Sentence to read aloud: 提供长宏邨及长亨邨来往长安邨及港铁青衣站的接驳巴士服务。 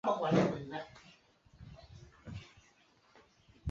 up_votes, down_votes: 1, 3